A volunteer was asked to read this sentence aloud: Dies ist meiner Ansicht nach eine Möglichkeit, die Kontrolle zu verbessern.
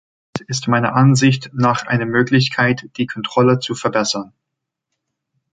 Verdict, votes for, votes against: rejected, 0, 2